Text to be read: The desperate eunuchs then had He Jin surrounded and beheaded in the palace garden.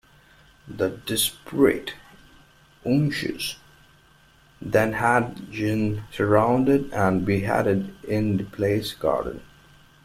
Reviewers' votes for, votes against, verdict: 1, 2, rejected